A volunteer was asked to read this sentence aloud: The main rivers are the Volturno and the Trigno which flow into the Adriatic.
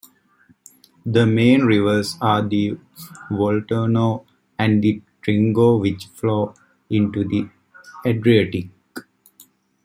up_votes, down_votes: 2, 0